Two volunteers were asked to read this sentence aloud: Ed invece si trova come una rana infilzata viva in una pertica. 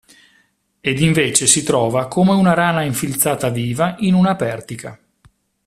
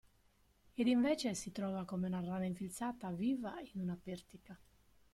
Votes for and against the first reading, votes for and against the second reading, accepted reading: 2, 0, 1, 2, first